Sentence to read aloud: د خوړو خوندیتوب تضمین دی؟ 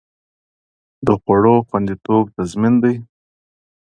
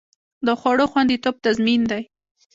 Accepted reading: first